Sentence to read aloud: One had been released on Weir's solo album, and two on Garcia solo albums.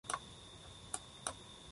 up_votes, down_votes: 0, 2